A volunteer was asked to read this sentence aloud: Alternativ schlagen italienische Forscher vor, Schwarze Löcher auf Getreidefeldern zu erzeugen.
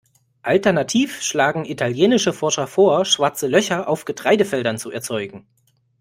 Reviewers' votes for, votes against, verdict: 2, 0, accepted